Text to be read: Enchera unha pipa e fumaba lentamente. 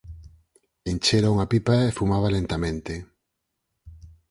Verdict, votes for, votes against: accepted, 4, 0